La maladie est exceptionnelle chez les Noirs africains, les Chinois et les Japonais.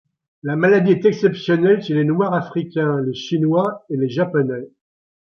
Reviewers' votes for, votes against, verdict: 2, 1, accepted